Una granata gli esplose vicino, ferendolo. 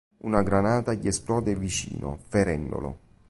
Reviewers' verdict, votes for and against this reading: rejected, 0, 2